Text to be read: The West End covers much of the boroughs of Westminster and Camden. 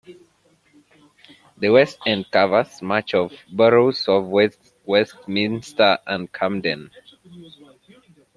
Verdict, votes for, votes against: rejected, 1, 2